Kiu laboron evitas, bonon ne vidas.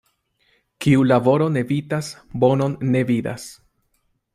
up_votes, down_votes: 2, 0